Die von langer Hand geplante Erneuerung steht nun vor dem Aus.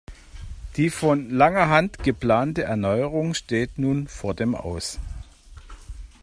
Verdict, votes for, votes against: accepted, 2, 0